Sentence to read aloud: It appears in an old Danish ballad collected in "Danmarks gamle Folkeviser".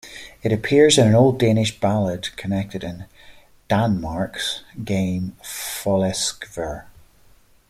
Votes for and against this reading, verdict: 0, 2, rejected